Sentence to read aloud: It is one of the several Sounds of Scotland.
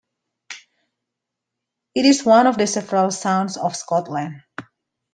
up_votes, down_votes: 2, 0